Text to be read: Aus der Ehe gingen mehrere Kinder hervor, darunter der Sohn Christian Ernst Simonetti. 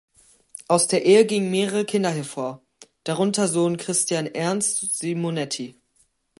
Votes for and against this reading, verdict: 1, 2, rejected